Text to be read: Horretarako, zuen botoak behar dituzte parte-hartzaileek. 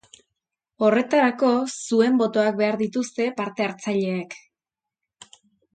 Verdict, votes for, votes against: accepted, 2, 0